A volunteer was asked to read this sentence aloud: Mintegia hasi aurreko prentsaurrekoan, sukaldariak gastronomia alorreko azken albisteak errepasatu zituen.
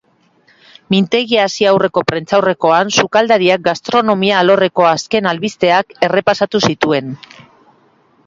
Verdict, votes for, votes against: accepted, 2, 0